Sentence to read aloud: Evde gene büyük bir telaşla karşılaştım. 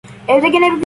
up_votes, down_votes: 0, 2